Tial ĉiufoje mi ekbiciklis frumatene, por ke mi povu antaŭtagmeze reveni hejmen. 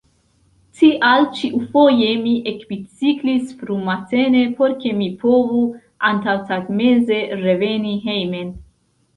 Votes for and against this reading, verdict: 2, 0, accepted